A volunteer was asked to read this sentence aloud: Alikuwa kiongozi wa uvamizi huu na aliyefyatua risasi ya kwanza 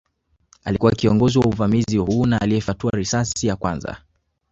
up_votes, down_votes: 1, 2